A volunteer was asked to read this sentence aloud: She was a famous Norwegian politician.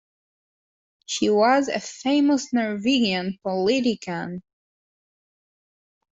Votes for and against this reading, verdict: 1, 2, rejected